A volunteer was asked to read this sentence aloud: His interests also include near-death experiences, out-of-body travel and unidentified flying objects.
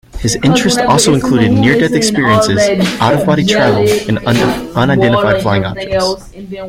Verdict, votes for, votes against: rejected, 0, 2